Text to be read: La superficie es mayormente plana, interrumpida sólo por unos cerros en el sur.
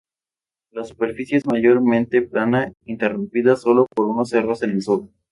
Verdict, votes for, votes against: accepted, 2, 0